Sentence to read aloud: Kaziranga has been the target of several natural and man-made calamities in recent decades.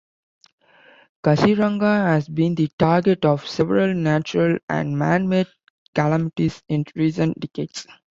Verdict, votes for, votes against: accepted, 2, 1